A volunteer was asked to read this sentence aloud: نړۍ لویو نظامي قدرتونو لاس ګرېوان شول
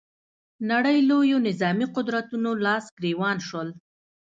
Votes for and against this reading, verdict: 2, 0, accepted